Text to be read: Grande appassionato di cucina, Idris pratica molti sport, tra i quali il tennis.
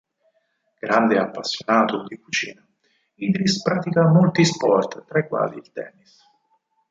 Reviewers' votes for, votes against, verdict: 2, 4, rejected